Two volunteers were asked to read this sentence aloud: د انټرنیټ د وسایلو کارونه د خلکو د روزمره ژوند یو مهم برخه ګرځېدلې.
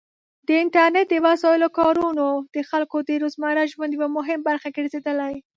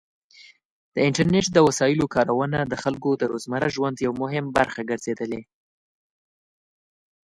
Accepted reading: second